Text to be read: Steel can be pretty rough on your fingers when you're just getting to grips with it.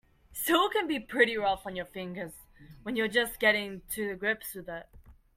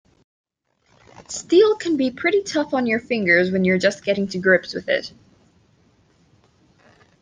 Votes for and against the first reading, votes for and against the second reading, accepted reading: 2, 1, 1, 2, first